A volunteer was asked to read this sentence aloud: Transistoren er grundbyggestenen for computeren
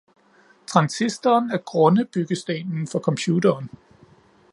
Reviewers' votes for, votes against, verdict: 1, 2, rejected